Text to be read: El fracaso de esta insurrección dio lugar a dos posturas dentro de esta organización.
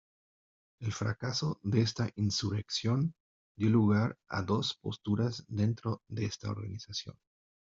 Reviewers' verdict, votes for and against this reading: accepted, 2, 0